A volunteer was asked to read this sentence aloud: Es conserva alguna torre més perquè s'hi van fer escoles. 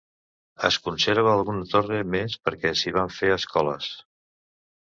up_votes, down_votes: 0, 2